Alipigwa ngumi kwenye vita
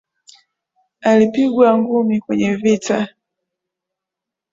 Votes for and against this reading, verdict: 1, 2, rejected